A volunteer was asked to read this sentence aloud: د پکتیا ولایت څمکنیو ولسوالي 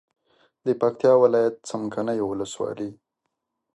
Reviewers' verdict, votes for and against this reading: accepted, 2, 0